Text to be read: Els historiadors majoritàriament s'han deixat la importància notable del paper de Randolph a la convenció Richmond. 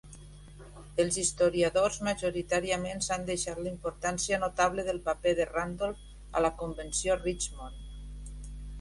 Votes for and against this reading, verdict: 2, 0, accepted